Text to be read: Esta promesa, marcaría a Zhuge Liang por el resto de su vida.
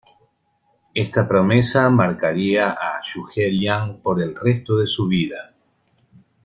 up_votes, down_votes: 2, 1